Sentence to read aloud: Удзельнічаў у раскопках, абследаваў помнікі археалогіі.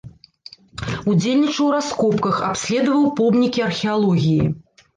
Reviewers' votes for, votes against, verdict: 2, 0, accepted